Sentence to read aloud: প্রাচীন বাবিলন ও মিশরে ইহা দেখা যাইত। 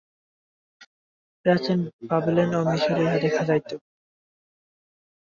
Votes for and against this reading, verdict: 0, 3, rejected